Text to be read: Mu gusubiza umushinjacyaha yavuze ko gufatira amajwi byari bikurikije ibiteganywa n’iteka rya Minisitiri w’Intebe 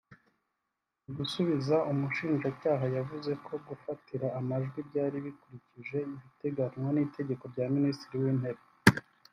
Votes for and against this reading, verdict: 2, 1, accepted